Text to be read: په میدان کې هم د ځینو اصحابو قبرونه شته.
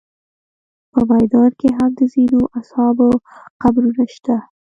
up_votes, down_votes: 3, 1